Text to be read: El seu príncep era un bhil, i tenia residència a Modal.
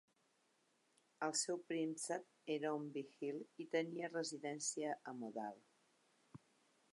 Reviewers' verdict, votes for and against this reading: rejected, 1, 2